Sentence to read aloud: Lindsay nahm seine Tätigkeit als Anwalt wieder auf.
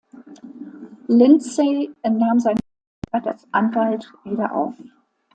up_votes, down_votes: 0, 2